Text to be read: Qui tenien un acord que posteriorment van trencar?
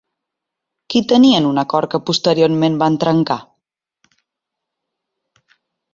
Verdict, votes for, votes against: accepted, 3, 1